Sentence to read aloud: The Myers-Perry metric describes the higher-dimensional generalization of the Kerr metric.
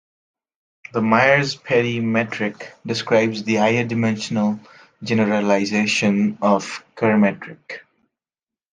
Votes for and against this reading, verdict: 1, 2, rejected